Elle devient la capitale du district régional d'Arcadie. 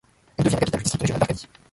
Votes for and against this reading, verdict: 0, 2, rejected